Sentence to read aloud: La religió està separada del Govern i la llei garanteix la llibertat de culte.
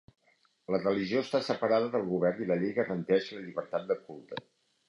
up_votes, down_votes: 2, 0